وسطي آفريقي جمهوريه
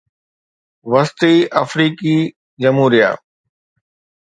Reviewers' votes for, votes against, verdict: 2, 0, accepted